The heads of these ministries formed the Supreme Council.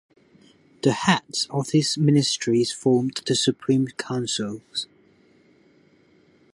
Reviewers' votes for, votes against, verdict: 0, 2, rejected